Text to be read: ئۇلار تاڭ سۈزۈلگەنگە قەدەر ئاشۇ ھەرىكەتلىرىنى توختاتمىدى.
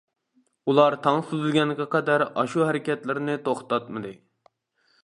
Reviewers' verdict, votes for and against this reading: accepted, 2, 0